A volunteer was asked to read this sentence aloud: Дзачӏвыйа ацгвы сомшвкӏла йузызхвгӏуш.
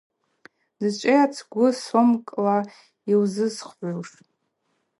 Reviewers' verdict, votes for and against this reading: accepted, 2, 0